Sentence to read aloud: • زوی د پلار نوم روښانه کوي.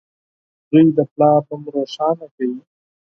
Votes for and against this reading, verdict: 6, 0, accepted